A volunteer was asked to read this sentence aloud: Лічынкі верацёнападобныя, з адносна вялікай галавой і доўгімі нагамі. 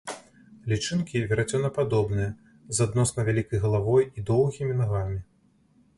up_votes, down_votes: 2, 0